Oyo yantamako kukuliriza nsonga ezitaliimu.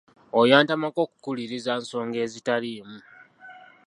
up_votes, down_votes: 2, 0